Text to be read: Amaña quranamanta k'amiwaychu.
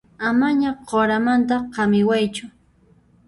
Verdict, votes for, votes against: rejected, 0, 2